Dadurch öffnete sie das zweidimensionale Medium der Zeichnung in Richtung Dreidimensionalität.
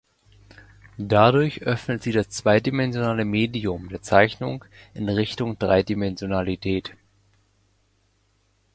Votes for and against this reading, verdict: 0, 2, rejected